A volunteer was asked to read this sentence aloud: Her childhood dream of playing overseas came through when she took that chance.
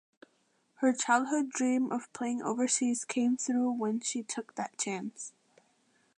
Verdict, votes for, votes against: accepted, 2, 0